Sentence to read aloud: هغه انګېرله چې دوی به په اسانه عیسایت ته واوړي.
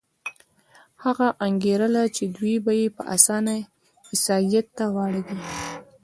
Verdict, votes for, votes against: accepted, 2, 0